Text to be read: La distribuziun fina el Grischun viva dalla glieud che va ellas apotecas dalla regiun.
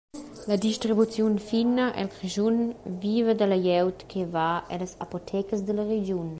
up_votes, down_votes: 2, 0